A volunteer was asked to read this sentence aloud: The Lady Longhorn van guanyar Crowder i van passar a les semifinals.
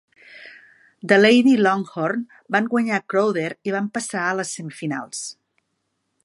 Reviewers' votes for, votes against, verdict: 4, 0, accepted